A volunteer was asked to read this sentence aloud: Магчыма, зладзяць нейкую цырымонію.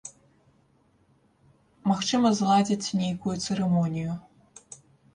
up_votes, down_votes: 1, 2